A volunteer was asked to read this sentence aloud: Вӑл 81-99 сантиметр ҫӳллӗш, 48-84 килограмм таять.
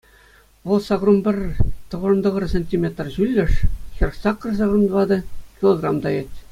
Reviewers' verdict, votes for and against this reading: rejected, 0, 2